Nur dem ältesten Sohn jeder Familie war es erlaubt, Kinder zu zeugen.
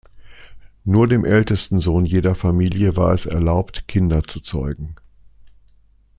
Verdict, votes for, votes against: accepted, 2, 0